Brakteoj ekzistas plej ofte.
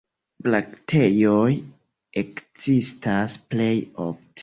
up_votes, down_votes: 1, 2